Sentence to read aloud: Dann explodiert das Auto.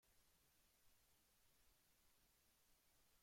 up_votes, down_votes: 0, 2